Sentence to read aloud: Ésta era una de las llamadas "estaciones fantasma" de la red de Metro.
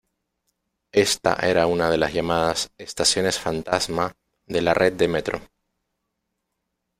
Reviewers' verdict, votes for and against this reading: accepted, 2, 0